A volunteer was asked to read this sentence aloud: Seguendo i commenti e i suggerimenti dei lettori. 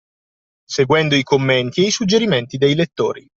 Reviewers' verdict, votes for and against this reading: accepted, 2, 0